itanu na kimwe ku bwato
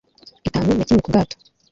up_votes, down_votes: 1, 2